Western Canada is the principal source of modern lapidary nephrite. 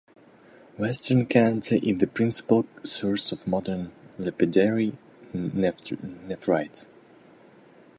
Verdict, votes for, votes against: rejected, 0, 2